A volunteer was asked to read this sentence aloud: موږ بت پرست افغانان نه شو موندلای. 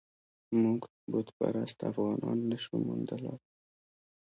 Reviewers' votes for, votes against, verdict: 1, 2, rejected